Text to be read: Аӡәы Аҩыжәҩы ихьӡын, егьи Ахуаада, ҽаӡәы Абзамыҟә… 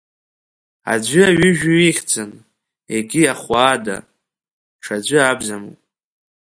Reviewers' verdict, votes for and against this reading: rejected, 1, 2